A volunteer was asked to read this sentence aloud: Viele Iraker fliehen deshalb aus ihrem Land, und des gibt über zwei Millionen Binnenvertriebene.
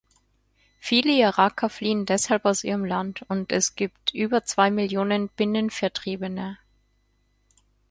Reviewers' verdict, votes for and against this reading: rejected, 2, 4